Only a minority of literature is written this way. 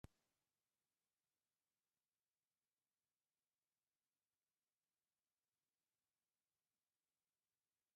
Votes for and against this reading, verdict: 0, 2, rejected